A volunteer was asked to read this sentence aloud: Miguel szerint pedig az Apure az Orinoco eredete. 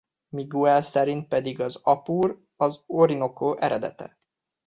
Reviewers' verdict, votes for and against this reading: rejected, 0, 3